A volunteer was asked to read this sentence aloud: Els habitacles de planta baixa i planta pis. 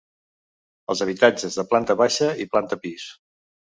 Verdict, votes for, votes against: rejected, 1, 2